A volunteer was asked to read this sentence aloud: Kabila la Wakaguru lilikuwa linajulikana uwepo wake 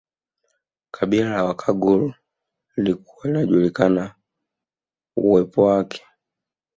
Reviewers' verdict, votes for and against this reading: rejected, 0, 2